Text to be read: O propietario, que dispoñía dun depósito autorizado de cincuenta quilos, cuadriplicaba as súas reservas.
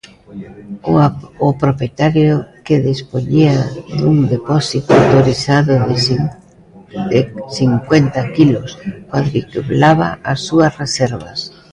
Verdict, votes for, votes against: rejected, 0, 2